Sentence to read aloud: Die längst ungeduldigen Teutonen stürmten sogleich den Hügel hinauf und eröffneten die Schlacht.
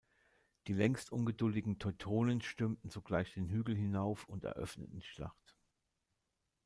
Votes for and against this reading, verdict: 1, 2, rejected